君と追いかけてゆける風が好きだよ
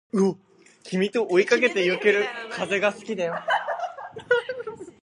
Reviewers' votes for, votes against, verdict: 1, 2, rejected